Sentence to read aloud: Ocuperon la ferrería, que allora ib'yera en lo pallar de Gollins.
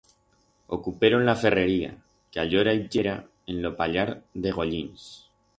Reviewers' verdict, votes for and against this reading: rejected, 2, 4